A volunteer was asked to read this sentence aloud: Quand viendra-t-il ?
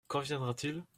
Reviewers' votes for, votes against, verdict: 2, 0, accepted